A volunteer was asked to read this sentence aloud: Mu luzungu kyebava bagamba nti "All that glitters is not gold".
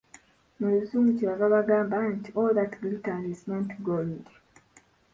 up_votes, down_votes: 1, 2